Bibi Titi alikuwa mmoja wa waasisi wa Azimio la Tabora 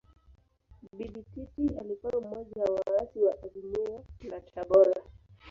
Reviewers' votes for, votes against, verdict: 1, 2, rejected